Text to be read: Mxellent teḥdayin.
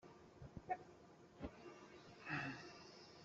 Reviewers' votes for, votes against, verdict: 0, 2, rejected